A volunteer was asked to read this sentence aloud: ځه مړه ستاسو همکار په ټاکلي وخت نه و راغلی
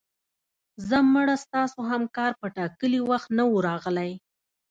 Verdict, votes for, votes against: accepted, 2, 0